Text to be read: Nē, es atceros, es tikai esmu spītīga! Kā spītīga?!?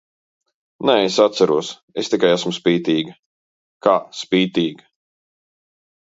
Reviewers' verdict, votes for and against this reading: accepted, 2, 0